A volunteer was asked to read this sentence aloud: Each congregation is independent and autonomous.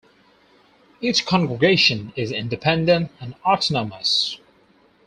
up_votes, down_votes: 0, 2